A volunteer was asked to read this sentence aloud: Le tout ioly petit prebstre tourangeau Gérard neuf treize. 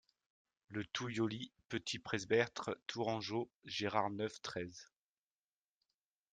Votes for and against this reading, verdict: 0, 2, rejected